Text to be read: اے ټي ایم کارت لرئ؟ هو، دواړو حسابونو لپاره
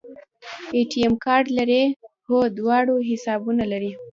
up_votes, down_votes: 2, 1